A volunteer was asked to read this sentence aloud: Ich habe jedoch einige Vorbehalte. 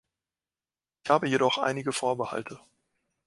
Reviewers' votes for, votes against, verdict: 2, 0, accepted